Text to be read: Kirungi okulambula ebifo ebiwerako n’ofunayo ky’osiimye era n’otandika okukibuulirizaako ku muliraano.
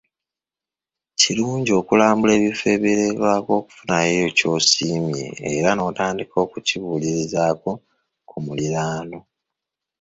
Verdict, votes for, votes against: rejected, 0, 2